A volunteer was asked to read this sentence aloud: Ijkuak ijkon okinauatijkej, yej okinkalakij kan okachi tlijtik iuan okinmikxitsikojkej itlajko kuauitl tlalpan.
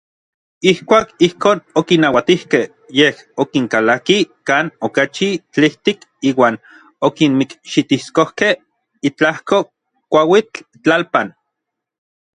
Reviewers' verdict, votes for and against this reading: rejected, 1, 2